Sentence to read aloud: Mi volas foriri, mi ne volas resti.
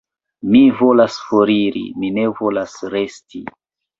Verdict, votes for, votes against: rejected, 0, 2